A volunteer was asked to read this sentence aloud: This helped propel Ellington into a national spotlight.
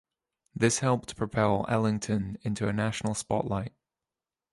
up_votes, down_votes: 2, 0